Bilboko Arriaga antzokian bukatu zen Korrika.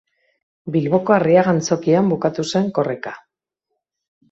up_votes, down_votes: 2, 0